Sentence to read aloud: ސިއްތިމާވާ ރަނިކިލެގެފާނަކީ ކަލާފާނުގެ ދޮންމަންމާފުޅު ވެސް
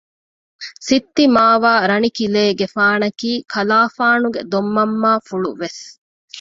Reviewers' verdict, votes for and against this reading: rejected, 0, 2